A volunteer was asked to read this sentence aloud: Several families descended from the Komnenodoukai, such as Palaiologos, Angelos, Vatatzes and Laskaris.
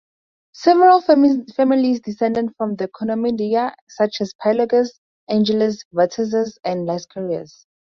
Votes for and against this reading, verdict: 2, 0, accepted